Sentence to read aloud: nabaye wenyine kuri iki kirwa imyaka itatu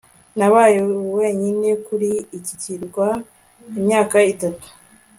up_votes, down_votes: 2, 0